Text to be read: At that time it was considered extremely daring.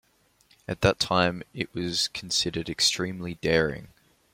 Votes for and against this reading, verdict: 3, 0, accepted